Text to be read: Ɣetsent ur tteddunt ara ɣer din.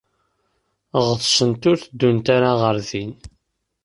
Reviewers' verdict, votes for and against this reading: accepted, 2, 0